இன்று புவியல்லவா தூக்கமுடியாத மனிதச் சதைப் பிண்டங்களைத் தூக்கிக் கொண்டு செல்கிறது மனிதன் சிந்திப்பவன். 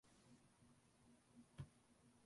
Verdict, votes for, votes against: rejected, 0, 2